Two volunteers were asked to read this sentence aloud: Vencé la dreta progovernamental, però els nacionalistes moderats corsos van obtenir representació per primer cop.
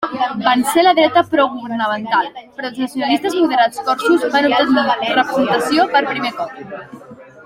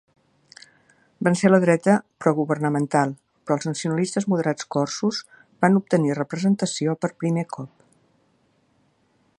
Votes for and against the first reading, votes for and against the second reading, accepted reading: 0, 2, 2, 0, second